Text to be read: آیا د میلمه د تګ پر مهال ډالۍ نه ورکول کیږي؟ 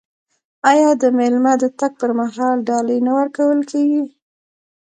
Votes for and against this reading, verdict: 1, 2, rejected